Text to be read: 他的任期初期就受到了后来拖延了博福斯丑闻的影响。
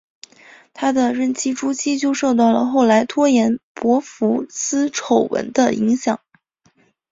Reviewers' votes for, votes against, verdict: 1, 2, rejected